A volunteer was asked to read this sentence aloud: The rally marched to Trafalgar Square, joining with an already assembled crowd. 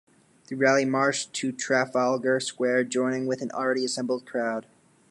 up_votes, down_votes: 2, 0